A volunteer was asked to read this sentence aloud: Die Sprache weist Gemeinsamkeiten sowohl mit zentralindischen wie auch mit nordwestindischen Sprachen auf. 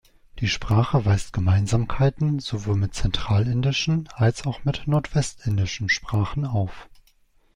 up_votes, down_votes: 0, 2